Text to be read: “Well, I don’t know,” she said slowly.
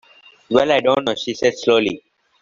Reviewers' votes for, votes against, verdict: 2, 1, accepted